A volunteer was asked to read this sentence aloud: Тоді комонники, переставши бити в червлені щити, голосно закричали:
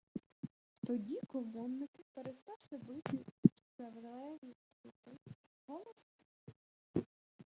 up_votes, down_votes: 0, 2